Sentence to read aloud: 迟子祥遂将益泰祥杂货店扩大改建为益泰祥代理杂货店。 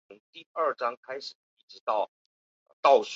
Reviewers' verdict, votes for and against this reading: rejected, 0, 2